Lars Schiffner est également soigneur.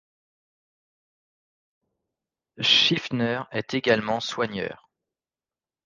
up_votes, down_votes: 1, 2